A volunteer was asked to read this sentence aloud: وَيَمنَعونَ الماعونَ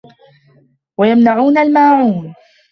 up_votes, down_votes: 2, 1